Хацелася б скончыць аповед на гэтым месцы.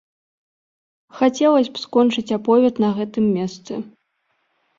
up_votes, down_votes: 0, 2